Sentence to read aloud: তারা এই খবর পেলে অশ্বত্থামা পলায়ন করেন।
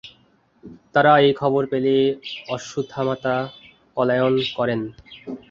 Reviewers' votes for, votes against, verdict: 0, 2, rejected